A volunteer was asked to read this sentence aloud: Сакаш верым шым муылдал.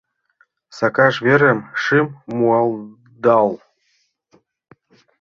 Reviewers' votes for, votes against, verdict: 0, 2, rejected